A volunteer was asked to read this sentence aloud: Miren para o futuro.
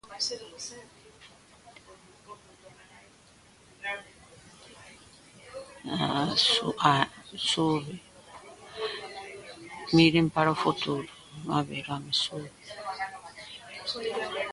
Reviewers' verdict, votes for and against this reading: rejected, 0, 2